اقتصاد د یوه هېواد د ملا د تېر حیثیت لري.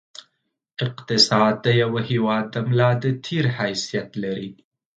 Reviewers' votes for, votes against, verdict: 2, 0, accepted